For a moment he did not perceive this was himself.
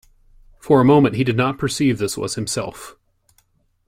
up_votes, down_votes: 2, 0